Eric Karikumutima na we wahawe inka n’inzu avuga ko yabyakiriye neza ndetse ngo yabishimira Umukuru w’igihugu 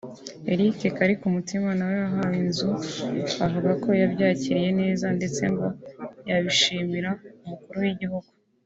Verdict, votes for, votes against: rejected, 1, 2